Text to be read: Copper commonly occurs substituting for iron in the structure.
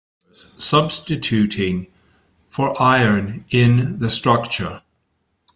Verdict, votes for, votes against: rejected, 0, 2